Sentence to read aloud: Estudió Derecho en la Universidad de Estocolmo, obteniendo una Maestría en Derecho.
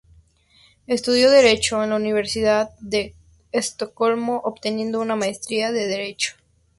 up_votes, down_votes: 0, 2